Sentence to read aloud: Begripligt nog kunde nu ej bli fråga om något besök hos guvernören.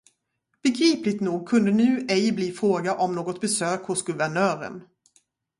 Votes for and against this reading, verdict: 2, 0, accepted